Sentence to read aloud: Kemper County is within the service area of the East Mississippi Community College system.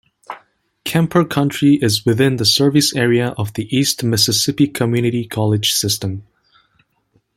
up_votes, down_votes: 0, 2